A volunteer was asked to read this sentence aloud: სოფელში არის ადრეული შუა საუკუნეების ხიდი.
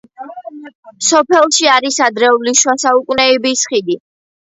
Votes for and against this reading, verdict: 0, 2, rejected